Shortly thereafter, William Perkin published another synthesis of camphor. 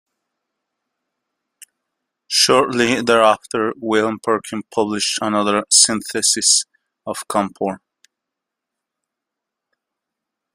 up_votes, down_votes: 2, 0